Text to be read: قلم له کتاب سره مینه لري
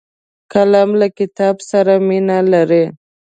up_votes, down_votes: 3, 0